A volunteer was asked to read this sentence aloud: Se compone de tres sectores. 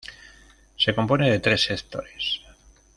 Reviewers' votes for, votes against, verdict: 1, 2, rejected